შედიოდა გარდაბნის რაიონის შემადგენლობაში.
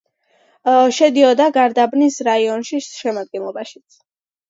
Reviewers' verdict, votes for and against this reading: accepted, 2, 1